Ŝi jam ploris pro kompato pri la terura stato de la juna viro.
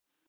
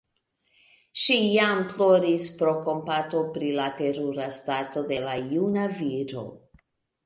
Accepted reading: second